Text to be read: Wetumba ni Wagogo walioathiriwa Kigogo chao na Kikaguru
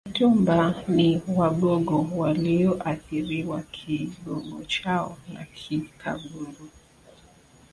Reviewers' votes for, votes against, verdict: 3, 2, accepted